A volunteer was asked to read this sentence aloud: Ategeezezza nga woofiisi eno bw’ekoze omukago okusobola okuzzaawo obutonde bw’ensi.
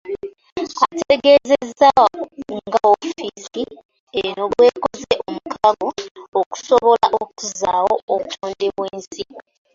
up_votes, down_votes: 0, 2